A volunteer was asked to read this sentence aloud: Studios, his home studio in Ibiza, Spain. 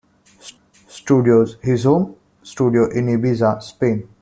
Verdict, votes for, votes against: rejected, 1, 2